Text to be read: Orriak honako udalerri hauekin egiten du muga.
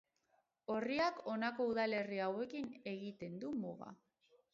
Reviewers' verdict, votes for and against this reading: rejected, 2, 2